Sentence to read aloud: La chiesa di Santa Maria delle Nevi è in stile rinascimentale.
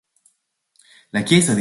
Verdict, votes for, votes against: rejected, 1, 3